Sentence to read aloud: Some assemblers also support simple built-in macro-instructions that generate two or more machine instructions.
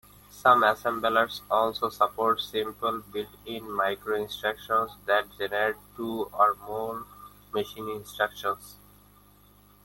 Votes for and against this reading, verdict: 1, 2, rejected